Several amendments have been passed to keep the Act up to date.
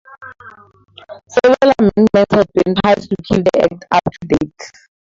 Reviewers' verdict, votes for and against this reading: accepted, 2, 0